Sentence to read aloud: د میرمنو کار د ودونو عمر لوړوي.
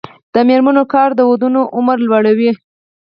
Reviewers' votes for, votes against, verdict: 2, 4, rejected